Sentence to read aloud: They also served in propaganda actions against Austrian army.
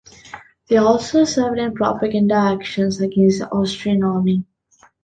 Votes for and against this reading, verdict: 0, 2, rejected